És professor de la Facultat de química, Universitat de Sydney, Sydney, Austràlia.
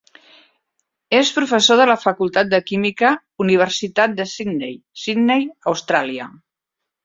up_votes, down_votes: 4, 0